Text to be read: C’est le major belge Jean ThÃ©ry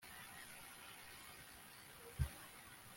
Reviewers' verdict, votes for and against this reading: rejected, 0, 2